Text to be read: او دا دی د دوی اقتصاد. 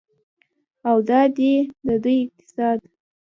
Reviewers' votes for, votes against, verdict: 1, 2, rejected